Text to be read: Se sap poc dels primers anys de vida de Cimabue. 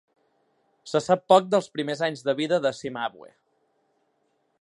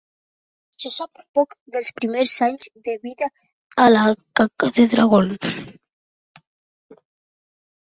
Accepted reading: first